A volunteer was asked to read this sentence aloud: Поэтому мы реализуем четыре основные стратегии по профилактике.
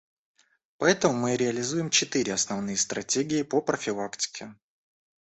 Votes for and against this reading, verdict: 2, 0, accepted